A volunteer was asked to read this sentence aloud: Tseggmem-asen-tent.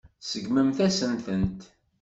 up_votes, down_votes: 1, 2